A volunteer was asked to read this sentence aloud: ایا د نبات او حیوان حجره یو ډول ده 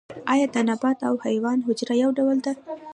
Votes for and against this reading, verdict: 2, 0, accepted